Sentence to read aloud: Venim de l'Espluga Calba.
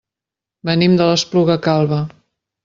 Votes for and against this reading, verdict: 2, 0, accepted